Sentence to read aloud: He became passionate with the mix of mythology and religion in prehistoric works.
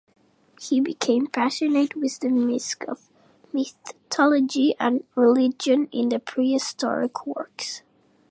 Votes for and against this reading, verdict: 0, 2, rejected